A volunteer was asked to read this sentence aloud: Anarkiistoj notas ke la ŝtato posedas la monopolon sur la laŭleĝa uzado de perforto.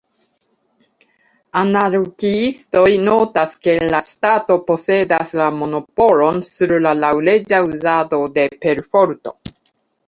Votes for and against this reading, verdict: 0, 2, rejected